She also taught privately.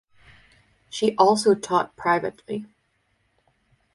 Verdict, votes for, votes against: accepted, 4, 0